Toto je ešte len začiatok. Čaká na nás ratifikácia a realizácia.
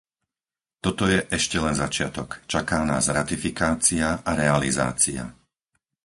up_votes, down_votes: 2, 4